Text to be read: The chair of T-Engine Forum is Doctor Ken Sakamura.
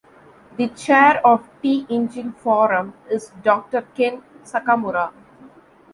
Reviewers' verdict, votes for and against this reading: accepted, 2, 0